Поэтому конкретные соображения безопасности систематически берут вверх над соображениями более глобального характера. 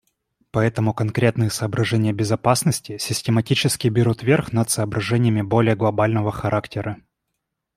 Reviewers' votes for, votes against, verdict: 2, 0, accepted